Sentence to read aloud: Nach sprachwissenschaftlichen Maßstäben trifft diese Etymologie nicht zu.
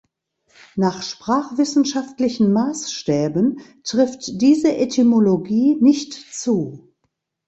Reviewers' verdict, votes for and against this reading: accepted, 2, 0